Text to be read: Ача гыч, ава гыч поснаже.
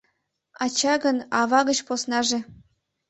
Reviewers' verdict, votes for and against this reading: rejected, 1, 3